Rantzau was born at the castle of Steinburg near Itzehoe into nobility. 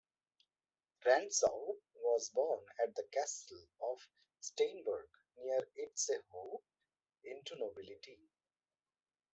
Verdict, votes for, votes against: rejected, 1, 2